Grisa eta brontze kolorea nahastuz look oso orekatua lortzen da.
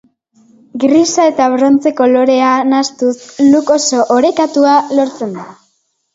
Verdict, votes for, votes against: accepted, 3, 0